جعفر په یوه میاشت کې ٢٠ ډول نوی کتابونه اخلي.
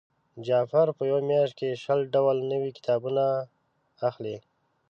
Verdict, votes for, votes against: rejected, 0, 2